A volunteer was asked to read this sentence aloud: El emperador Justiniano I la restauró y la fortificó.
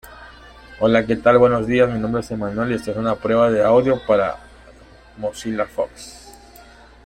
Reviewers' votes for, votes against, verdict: 0, 2, rejected